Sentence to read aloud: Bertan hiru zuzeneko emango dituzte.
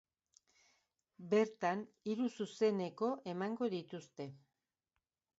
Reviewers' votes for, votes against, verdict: 2, 0, accepted